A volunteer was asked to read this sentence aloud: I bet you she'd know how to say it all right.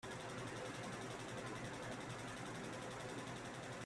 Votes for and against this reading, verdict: 0, 2, rejected